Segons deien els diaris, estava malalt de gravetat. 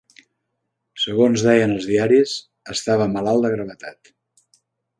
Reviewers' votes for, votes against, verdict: 3, 0, accepted